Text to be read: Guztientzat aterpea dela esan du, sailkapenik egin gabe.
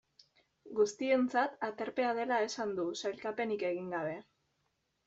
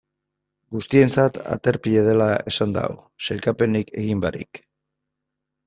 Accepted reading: first